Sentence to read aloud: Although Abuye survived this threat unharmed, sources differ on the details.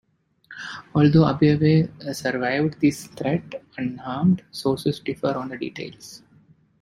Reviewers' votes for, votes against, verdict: 2, 1, accepted